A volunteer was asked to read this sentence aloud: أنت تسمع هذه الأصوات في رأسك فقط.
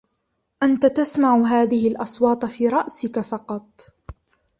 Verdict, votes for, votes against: rejected, 1, 2